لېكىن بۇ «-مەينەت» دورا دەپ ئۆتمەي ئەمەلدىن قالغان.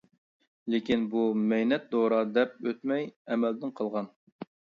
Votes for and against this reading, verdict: 2, 0, accepted